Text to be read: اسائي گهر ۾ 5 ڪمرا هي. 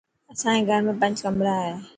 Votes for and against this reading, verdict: 0, 2, rejected